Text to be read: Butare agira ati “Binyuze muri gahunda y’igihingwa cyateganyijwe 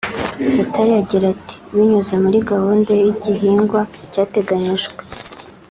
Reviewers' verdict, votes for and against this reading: accepted, 2, 0